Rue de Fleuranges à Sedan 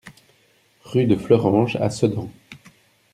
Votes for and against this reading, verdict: 2, 0, accepted